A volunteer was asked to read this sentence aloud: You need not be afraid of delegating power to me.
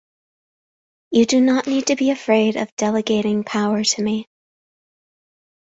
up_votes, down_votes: 0, 2